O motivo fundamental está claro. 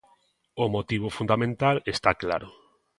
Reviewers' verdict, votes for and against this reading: accepted, 2, 0